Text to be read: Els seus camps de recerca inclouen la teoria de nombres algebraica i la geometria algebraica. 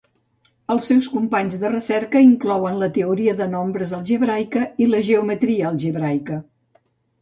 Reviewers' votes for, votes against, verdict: 1, 3, rejected